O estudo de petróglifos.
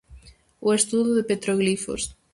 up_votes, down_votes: 0, 4